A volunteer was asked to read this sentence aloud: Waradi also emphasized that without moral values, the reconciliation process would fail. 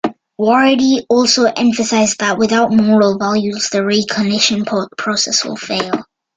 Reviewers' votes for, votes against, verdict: 1, 2, rejected